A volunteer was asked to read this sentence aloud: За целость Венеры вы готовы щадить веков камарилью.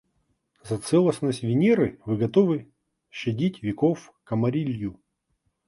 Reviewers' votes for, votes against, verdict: 1, 2, rejected